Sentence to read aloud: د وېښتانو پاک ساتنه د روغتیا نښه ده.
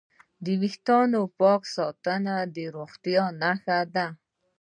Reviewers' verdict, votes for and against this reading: accepted, 2, 0